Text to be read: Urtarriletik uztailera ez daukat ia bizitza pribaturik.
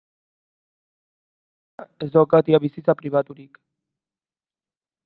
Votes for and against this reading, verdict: 0, 2, rejected